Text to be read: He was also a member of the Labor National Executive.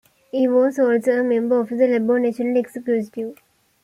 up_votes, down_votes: 2, 0